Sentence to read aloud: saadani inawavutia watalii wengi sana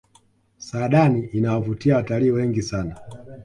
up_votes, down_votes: 2, 0